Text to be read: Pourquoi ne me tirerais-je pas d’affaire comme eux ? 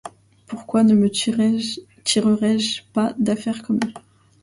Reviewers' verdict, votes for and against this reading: rejected, 1, 2